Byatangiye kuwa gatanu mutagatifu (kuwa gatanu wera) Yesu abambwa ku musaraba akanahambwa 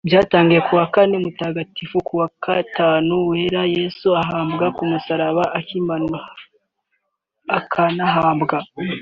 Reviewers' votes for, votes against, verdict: 0, 2, rejected